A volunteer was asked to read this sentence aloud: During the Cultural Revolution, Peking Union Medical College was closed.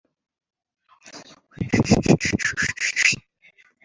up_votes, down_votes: 0, 2